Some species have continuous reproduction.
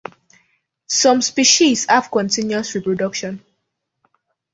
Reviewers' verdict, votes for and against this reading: rejected, 1, 2